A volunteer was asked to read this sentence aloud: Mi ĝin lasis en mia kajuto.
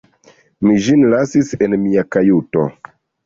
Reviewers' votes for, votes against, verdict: 2, 1, accepted